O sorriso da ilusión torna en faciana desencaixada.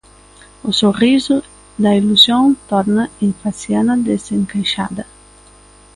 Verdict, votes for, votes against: accepted, 2, 0